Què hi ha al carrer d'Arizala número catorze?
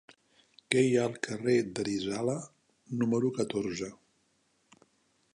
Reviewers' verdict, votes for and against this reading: rejected, 1, 3